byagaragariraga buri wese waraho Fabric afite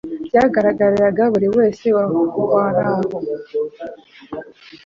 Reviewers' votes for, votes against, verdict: 1, 2, rejected